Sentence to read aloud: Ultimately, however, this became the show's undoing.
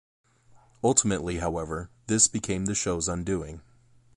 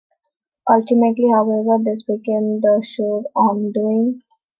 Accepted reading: first